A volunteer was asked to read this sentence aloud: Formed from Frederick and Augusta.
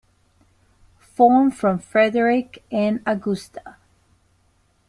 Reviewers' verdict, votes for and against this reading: accepted, 2, 0